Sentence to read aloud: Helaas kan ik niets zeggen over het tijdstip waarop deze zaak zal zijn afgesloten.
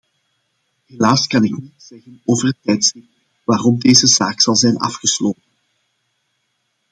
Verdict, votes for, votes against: rejected, 0, 2